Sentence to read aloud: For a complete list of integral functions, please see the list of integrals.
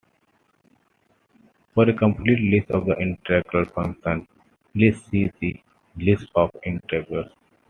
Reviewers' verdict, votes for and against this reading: rejected, 1, 2